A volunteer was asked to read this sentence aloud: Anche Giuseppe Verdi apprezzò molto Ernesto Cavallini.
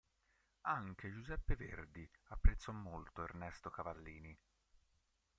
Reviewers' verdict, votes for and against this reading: rejected, 2, 3